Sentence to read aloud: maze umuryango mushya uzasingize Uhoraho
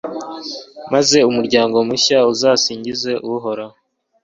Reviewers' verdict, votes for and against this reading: accepted, 2, 0